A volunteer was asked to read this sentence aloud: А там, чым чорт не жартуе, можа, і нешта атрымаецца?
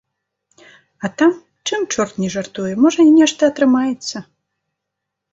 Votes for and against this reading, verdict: 2, 0, accepted